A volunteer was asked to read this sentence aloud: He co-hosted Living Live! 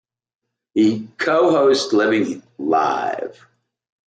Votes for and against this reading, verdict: 0, 2, rejected